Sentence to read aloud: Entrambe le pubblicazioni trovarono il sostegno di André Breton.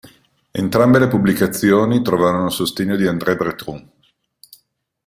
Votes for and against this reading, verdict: 0, 2, rejected